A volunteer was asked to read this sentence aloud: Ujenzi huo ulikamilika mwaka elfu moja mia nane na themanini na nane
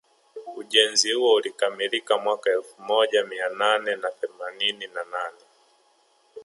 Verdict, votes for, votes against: accepted, 2, 0